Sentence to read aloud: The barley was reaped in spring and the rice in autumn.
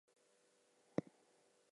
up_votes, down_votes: 0, 4